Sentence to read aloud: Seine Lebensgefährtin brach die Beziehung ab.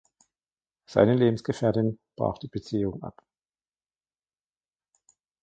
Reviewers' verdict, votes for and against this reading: rejected, 1, 2